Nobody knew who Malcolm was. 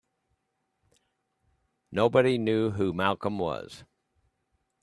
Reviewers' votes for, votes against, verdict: 4, 0, accepted